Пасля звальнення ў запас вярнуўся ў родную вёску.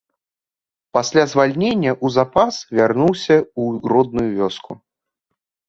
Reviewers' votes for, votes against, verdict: 0, 2, rejected